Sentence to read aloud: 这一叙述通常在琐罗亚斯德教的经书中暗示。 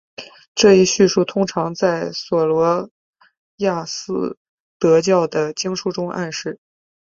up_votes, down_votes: 2, 0